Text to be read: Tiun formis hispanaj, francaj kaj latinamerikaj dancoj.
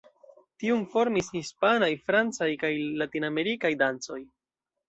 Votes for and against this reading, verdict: 2, 0, accepted